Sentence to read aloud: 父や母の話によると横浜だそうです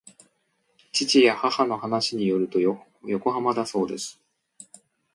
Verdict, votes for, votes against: rejected, 1, 2